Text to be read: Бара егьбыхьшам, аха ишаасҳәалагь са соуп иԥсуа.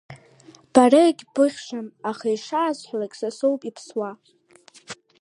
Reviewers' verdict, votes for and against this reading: accepted, 2, 1